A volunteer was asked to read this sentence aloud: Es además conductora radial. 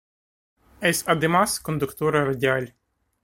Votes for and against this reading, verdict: 0, 2, rejected